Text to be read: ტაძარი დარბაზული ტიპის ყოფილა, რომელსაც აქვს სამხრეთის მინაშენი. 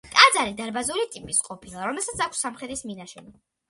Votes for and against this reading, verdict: 2, 0, accepted